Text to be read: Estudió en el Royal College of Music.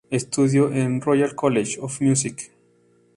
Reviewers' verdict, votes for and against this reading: accepted, 2, 0